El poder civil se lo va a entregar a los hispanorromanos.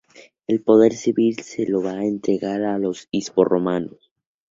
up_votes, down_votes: 0, 2